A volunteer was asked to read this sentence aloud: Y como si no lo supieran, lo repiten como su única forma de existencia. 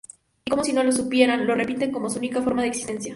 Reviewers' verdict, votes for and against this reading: accepted, 2, 0